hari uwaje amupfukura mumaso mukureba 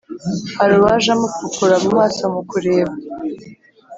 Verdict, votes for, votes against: accepted, 4, 0